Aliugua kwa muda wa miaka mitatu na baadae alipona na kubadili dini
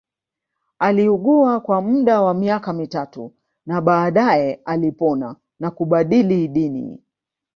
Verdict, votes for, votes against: rejected, 1, 2